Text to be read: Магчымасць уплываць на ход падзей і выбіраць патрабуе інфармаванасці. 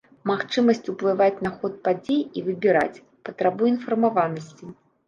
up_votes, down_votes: 2, 0